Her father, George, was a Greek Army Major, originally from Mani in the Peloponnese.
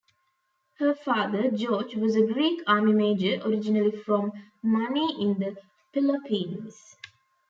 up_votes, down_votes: 0, 2